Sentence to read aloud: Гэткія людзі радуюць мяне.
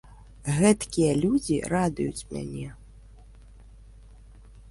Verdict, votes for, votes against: accepted, 2, 1